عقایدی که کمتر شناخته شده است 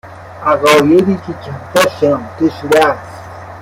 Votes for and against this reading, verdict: 1, 2, rejected